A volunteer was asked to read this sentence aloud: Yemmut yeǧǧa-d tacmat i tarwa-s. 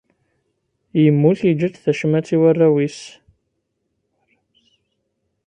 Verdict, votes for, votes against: rejected, 1, 2